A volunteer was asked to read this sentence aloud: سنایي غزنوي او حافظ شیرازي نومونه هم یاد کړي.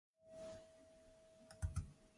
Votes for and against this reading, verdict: 0, 2, rejected